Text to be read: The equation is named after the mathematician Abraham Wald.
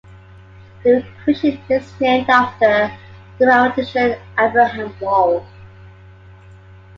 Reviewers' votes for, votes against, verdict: 1, 2, rejected